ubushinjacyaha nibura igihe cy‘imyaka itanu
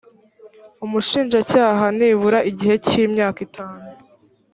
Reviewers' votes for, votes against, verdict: 1, 2, rejected